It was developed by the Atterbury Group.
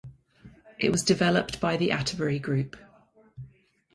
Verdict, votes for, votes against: accepted, 4, 0